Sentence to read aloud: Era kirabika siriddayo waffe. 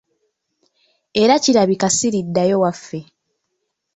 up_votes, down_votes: 1, 2